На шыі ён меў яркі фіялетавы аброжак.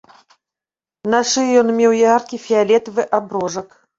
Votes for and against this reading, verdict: 0, 2, rejected